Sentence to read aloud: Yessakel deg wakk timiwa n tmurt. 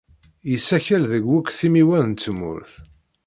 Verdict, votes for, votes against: rejected, 1, 2